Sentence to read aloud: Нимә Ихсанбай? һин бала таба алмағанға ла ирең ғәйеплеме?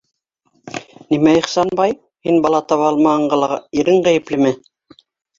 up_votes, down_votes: 0, 2